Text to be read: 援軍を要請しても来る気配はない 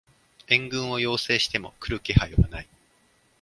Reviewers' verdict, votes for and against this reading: accepted, 2, 0